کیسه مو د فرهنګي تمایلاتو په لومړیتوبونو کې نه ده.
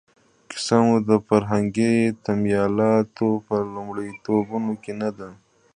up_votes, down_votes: 2, 0